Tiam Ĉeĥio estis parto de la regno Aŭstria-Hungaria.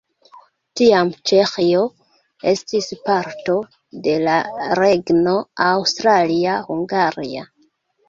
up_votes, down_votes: 1, 2